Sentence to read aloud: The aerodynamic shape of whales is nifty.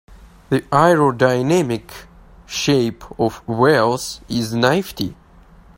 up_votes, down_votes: 1, 2